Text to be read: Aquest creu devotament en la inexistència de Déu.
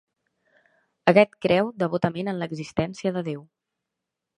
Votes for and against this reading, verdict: 0, 2, rejected